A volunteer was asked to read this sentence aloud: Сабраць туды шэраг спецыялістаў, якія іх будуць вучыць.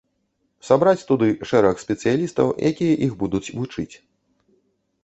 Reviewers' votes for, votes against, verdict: 2, 0, accepted